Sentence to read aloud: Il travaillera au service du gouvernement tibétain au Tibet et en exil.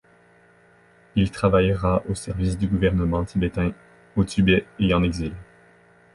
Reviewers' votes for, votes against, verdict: 2, 0, accepted